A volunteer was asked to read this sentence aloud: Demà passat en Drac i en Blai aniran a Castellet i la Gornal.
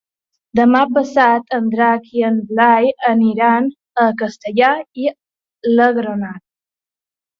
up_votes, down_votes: 0, 2